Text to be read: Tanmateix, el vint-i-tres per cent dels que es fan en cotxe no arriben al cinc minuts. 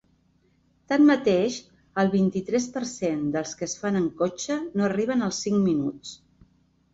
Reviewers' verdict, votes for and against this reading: accepted, 3, 0